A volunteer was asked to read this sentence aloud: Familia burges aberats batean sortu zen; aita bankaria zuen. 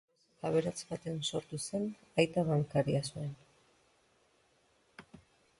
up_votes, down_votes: 0, 2